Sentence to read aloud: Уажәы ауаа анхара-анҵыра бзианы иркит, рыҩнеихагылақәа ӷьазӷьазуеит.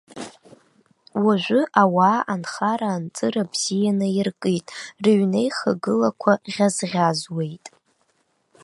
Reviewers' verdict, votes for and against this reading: accepted, 2, 0